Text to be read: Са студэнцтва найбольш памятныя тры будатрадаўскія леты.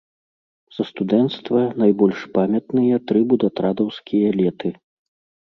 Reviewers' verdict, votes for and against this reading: rejected, 1, 2